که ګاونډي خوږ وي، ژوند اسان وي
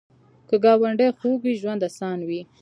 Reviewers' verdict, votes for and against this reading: accepted, 2, 0